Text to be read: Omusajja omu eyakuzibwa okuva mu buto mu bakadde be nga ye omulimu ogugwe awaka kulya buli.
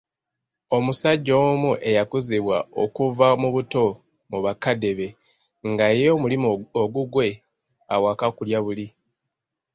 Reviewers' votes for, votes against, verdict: 2, 0, accepted